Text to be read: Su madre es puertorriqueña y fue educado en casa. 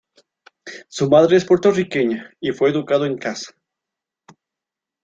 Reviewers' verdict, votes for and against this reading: accepted, 2, 0